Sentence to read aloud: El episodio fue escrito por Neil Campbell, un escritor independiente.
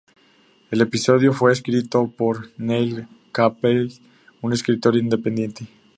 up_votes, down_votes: 2, 0